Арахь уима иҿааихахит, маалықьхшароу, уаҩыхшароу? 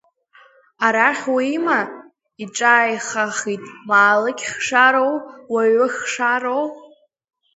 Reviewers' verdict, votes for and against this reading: rejected, 0, 2